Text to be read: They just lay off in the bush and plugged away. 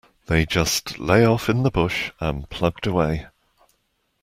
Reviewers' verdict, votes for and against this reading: accepted, 2, 0